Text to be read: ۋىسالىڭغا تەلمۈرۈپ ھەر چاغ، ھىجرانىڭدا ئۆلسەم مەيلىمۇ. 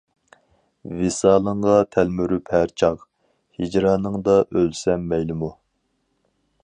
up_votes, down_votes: 4, 0